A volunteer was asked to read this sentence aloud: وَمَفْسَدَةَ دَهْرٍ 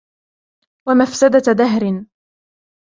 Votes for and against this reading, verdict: 1, 2, rejected